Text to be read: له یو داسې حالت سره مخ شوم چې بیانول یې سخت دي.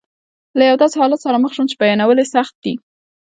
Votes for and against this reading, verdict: 2, 0, accepted